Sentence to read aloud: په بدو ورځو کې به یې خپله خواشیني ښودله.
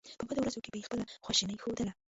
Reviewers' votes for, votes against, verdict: 0, 2, rejected